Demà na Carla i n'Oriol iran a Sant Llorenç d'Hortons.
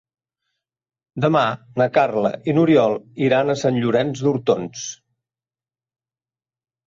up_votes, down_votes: 3, 0